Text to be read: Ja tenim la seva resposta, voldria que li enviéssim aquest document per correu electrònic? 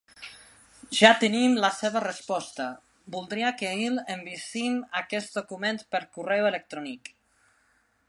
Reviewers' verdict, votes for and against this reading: rejected, 1, 2